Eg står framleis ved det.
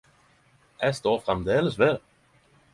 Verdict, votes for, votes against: accepted, 10, 0